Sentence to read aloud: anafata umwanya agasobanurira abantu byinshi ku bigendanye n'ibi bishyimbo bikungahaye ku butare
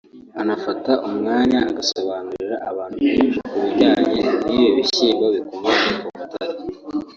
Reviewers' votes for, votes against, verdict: 0, 2, rejected